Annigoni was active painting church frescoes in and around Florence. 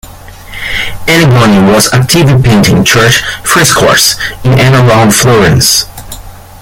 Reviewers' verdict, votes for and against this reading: rejected, 1, 2